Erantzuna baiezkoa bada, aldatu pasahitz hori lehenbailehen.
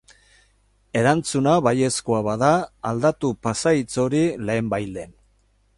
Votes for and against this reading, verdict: 2, 0, accepted